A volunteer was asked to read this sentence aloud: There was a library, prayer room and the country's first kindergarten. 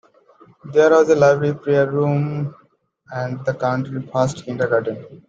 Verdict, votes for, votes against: rejected, 1, 2